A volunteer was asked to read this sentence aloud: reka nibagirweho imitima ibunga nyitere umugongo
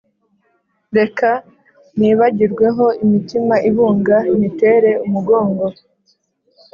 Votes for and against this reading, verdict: 2, 0, accepted